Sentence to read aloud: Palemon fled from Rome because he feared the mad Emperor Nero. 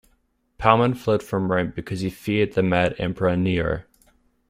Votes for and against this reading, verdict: 2, 1, accepted